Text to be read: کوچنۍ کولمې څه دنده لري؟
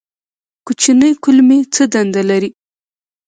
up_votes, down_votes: 2, 0